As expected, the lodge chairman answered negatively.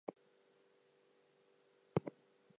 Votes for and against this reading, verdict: 0, 4, rejected